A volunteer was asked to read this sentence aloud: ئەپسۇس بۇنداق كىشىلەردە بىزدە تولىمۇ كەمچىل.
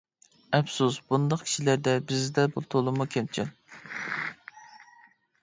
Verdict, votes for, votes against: rejected, 0, 2